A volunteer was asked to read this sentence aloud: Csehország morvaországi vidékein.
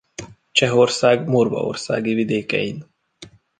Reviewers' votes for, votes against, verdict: 2, 0, accepted